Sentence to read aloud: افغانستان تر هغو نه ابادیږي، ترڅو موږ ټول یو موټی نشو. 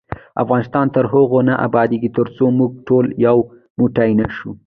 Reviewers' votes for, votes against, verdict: 2, 0, accepted